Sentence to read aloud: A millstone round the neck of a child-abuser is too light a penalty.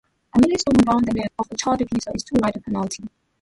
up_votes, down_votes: 0, 2